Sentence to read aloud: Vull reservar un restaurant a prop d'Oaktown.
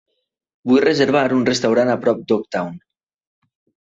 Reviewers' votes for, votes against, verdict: 2, 0, accepted